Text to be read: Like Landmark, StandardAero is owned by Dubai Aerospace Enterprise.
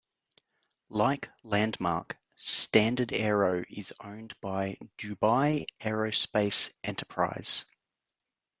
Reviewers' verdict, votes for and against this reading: accepted, 2, 0